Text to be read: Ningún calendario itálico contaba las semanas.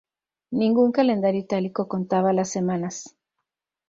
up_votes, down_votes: 2, 0